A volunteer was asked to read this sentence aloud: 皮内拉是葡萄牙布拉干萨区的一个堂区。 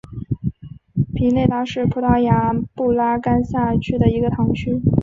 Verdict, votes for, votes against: accepted, 4, 1